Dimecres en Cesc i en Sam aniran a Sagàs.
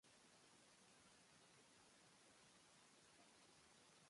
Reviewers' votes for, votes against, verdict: 0, 4, rejected